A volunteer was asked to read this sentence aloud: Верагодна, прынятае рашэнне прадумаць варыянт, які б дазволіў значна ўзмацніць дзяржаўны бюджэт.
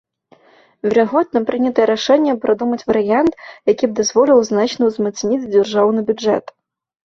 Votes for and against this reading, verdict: 2, 1, accepted